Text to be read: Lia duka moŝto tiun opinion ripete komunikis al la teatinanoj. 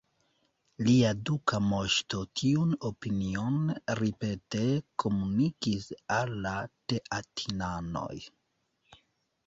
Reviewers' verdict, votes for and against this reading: accepted, 2, 0